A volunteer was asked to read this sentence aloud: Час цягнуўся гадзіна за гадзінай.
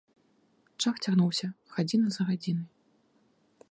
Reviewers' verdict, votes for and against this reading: rejected, 1, 2